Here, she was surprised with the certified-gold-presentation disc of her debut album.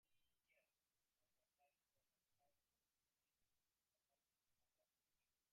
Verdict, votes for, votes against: rejected, 0, 2